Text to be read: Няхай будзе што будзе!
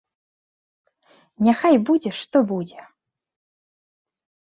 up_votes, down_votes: 4, 0